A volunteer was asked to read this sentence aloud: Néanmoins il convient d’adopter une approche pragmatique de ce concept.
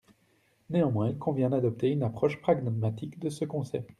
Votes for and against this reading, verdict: 0, 2, rejected